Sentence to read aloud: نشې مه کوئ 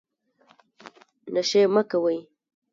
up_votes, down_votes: 1, 3